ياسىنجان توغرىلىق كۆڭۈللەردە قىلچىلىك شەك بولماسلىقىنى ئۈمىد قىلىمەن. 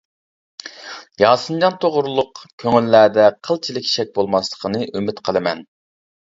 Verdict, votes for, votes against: accepted, 2, 0